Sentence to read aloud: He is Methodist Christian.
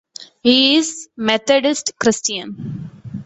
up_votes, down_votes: 2, 1